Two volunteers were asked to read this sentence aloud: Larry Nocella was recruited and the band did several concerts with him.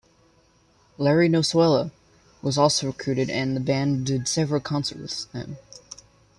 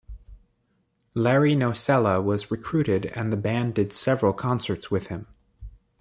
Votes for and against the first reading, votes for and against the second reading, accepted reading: 0, 2, 2, 0, second